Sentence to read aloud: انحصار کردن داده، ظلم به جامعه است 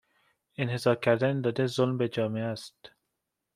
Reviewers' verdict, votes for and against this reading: accepted, 2, 0